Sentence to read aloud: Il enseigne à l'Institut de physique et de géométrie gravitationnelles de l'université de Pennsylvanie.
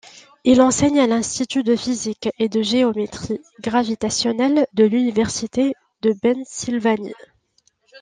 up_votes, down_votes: 2, 0